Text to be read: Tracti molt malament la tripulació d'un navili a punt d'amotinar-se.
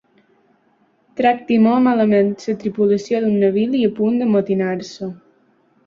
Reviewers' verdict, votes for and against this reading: rejected, 0, 3